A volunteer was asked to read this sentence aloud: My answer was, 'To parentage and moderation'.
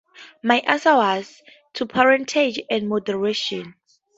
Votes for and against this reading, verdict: 4, 0, accepted